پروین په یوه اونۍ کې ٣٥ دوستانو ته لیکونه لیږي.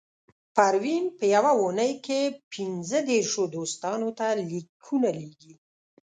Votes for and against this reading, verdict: 0, 2, rejected